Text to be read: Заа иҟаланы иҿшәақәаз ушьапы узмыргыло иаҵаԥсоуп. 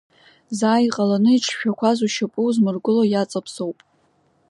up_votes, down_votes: 2, 0